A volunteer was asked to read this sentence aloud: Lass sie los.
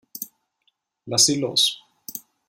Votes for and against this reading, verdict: 2, 0, accepted